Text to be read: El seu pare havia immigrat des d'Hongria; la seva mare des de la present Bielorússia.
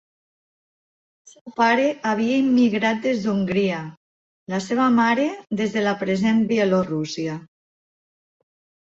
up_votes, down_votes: 1, 3